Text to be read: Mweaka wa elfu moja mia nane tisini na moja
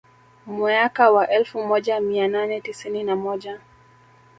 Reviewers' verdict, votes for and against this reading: rejected, 1, 2